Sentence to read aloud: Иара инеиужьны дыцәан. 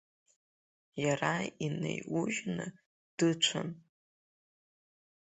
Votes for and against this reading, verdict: 1, 3, rejected